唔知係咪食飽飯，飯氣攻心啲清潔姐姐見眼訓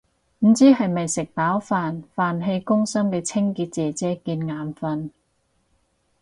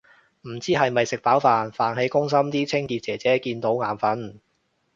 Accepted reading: second